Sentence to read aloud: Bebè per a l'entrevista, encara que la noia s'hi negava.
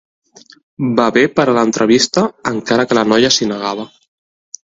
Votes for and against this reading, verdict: 2, 0, accepted